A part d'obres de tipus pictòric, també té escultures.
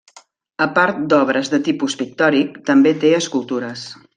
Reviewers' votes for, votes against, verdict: 3, 0, accepted